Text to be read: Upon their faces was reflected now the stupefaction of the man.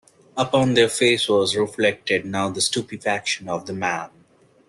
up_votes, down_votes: 1, 2